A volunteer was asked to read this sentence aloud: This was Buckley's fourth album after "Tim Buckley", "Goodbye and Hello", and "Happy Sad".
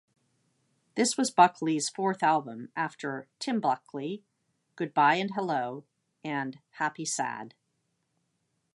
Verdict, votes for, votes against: accepted, 2, 0